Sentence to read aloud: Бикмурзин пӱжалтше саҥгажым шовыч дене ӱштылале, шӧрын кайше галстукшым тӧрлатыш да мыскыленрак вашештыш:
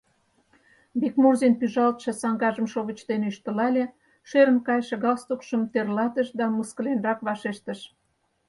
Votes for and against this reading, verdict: 4, 0, accepted